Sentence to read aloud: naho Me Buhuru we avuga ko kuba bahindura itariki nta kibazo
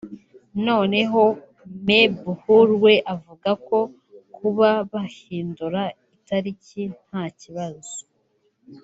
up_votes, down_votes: 1, 2